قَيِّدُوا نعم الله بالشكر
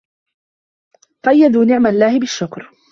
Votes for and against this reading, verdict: 1, 2, rejected